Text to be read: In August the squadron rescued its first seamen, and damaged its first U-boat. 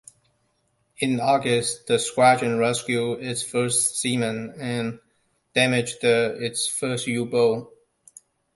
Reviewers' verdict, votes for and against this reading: rejected, 0, 2